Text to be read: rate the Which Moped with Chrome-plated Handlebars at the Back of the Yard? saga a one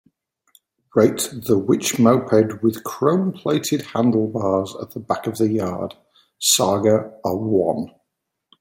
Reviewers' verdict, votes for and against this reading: accepted, 3, 1